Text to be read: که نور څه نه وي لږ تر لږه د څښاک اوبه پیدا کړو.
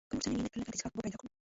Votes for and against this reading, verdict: 1, 2, rejected